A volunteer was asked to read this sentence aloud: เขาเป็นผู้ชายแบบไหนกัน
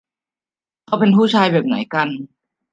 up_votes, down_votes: 1, 2